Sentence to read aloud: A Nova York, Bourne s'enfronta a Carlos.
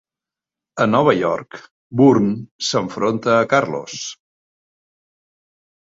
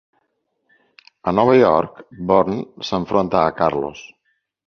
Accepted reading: second